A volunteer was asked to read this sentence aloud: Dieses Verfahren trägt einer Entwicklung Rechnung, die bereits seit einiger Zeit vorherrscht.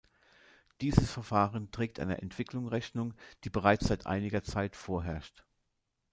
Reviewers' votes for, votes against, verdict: 2, 0, accepted